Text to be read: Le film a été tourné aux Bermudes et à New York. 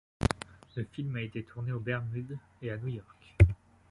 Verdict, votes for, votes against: rejected, 1, 2